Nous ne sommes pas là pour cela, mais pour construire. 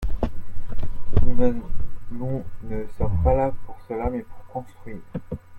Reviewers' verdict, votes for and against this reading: rejected, 0, 2